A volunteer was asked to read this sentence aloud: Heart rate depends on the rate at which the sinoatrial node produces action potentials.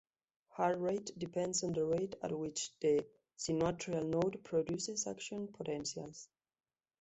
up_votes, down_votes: 2, 1